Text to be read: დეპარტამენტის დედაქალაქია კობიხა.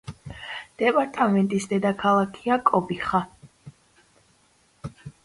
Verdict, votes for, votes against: accepted, 2, 0